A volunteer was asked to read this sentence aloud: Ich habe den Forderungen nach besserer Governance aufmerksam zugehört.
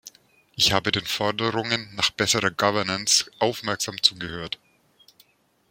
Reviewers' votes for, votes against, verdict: 2, 1, accepted